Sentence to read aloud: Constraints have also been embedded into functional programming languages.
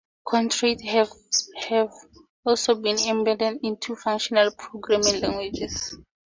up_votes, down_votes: 0, 4